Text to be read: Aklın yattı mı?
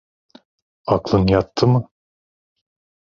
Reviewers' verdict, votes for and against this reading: accepted, 2, 0